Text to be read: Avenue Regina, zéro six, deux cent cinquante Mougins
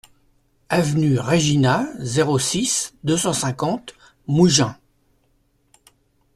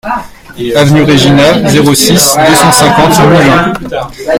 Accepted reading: first